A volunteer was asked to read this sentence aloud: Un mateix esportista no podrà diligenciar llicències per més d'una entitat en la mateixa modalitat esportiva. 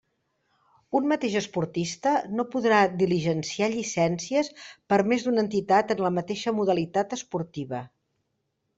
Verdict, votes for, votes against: accepted, 3, 0